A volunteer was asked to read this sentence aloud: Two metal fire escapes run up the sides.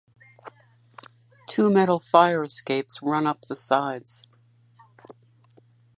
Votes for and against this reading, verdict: 2, 0, accepted